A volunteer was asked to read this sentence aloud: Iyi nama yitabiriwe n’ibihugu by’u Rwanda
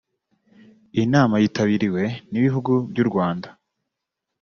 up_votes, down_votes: 2, 0